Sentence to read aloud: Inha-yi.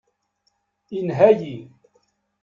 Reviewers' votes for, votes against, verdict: 2, 0, accepted